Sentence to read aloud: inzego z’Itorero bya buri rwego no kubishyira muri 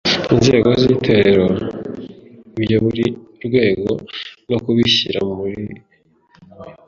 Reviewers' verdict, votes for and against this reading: rejected, 0, 2